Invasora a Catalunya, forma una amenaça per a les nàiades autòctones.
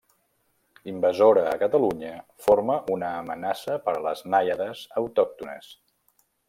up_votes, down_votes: 2, 0